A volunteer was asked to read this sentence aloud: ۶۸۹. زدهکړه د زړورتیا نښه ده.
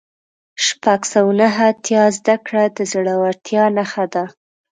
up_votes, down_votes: 0, 2